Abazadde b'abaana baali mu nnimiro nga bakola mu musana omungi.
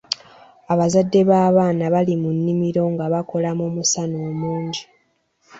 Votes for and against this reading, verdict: 0, 2, rejected